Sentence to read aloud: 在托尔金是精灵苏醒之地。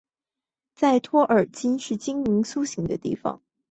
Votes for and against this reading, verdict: 0, 2, rejected